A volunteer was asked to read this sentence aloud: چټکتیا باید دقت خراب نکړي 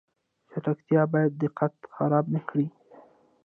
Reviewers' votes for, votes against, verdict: 2, 0, accepted